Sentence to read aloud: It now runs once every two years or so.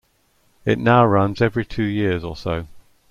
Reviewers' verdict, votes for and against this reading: accepted, 2, 0